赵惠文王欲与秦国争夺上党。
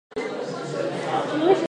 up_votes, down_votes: 0, 4